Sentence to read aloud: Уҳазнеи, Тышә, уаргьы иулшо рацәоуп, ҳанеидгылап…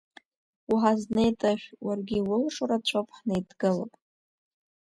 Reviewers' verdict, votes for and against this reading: accepted, 2, 1